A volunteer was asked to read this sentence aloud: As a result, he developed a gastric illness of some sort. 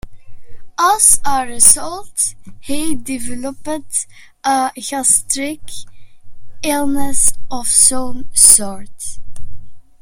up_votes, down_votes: 0, 2